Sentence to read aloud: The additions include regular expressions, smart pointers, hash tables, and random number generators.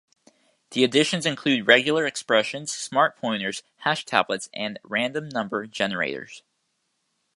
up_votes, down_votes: 1, 2